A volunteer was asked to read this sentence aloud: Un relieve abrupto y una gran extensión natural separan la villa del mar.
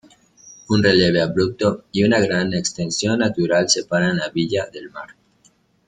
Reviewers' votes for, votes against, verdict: 1, 2, rejected